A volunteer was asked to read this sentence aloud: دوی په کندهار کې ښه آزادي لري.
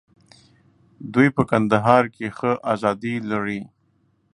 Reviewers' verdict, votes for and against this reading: accepted, 2, 0